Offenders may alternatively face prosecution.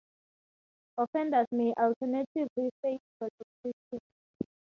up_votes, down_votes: 0, 2